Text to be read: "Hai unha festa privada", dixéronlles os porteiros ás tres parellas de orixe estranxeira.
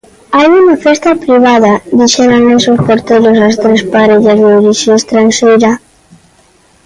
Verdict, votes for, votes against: rejected, 1, 2